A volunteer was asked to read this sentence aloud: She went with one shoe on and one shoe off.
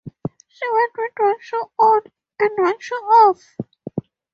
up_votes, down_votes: 4, 2